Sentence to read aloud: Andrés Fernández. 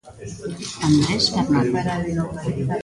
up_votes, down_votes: 1, 2